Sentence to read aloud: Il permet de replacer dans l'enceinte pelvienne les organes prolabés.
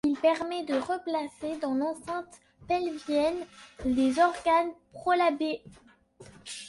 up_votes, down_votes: 2, 0